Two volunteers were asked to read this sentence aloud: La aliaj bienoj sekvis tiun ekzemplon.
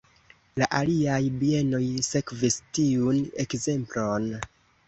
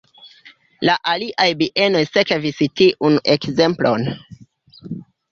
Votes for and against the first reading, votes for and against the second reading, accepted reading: 2, 0, 1, 2, first